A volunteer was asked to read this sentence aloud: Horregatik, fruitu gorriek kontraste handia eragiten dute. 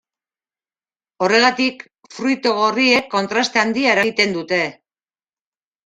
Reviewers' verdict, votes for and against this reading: rejected, 0, 2